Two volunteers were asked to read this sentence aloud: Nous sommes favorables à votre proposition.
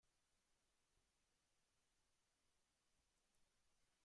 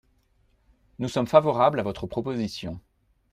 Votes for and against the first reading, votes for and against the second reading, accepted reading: 0, 2, 2, 0, second